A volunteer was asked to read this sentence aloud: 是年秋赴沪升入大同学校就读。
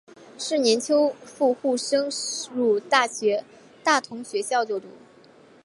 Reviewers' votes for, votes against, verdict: 3, 4, rejected